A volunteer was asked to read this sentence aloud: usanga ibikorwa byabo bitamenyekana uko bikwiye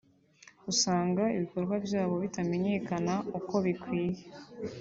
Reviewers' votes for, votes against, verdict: 2, 0, accepted